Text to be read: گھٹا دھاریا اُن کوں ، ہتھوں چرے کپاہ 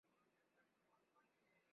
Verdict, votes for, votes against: rejected, 0, 2